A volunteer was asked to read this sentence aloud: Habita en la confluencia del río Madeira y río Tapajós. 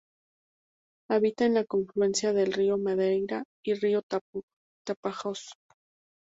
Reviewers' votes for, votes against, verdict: 0, 6, rejected